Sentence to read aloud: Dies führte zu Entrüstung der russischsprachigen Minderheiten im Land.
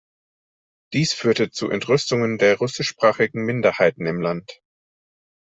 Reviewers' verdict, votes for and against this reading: rejected, 1, 2